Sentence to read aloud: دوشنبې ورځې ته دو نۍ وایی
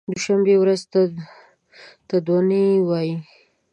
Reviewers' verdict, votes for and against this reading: rejected, 0, 2